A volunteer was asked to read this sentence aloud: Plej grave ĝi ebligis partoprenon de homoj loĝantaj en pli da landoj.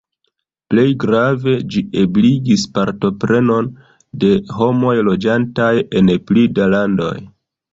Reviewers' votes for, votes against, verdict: 2, 3, rejected